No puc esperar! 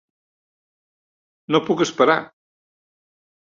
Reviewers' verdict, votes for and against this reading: accepted, 3, 0